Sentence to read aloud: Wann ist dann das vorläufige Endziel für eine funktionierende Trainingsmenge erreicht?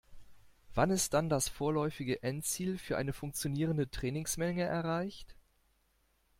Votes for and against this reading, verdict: 2, 0, accepted